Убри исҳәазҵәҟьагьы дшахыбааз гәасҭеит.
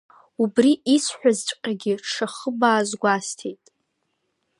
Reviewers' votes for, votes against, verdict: 2, 0, accepted